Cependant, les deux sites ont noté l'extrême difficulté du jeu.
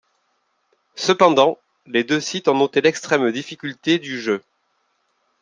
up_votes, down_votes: 2, 0